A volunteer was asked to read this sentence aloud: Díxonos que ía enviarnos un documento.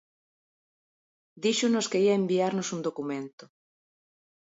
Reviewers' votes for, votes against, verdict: 2, 0, accepted